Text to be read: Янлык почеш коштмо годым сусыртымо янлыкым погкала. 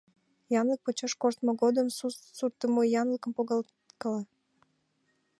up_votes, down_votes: 1, 2